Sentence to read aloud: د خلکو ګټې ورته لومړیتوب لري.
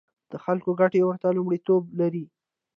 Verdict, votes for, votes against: rejected, 1, 2